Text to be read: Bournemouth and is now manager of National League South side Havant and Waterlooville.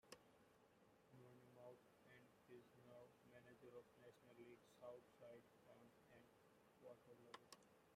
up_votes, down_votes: 0, 2